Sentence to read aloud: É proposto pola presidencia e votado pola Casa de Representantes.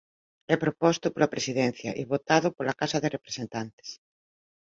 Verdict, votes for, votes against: accepted, 2, 0